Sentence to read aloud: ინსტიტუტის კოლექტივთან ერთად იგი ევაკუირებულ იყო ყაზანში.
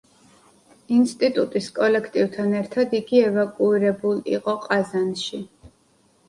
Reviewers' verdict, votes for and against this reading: accepted, 2, 0